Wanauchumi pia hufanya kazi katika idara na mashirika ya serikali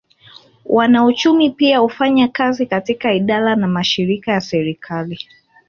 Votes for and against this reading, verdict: 4, 0, accepted